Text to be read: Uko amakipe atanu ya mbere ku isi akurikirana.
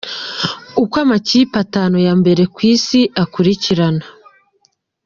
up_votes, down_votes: 1, 2